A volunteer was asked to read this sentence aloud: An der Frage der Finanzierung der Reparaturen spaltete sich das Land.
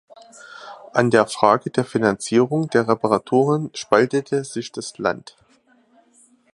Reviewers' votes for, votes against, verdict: 2, 0, accepted